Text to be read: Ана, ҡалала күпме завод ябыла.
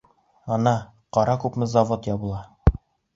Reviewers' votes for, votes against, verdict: 0, 2, rejected